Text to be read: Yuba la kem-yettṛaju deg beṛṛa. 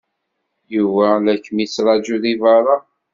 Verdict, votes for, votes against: accepted, 2, 0